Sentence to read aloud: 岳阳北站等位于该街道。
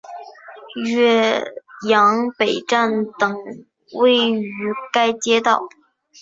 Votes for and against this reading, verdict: 2, 0, accepted